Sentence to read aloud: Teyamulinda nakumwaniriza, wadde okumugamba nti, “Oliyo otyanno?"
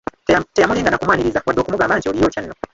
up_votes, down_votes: 0, 2